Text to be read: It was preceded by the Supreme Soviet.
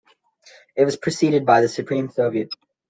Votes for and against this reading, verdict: 2, 0, accepted